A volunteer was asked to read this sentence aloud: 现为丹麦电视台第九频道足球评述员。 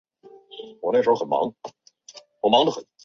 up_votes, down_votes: 0, 2